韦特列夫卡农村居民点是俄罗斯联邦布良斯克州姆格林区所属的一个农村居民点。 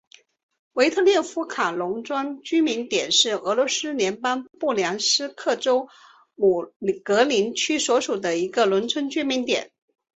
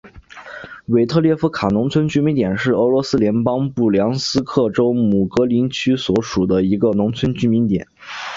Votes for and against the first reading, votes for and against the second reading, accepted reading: 1, 4, 2, 0, second